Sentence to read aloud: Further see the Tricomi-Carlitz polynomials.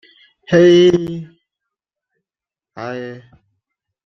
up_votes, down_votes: 0, 2